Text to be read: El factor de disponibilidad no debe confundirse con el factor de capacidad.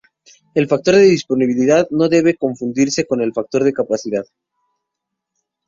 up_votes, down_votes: 2, 0